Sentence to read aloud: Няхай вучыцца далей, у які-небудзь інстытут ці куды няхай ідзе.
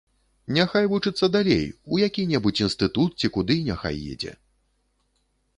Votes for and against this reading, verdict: 0, 2, rejected